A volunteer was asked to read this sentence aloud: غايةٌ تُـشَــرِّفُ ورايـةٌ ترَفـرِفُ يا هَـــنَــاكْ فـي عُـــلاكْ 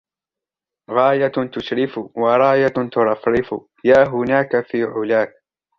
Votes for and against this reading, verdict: 0, 2, rejected